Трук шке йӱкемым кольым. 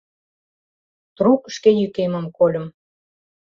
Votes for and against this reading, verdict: 2, 0, accepted